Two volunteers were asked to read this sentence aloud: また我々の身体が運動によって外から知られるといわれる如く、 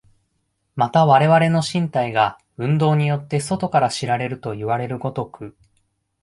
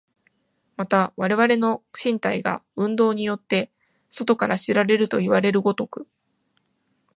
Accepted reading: first